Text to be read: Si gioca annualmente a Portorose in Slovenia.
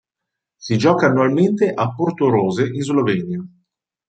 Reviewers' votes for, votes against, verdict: 2, 0, accepted